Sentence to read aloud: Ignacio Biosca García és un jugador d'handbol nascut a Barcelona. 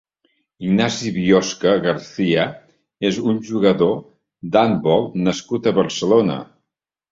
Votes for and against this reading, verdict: 0, 2, rejected